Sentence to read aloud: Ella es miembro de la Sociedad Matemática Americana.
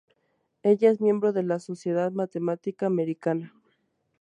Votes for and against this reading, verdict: 2, 0, accepted